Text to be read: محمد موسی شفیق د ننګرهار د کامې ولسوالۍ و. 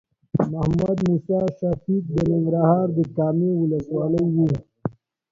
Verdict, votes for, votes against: rejected, 0, 2